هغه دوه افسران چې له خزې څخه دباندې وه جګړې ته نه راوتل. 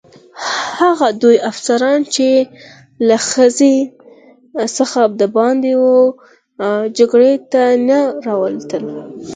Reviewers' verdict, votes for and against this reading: accepted, 4, 2